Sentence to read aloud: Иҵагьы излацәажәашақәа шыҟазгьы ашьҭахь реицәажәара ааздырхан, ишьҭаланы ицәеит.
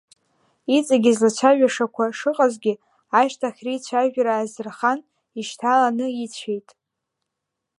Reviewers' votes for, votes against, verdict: 2, 1, accepted